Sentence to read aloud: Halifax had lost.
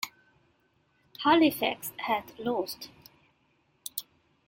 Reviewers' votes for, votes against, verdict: 2, 0, accepted